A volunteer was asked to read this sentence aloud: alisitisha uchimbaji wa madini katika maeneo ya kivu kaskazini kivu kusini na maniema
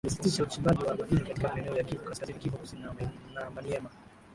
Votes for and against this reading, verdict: 0, 2, rejected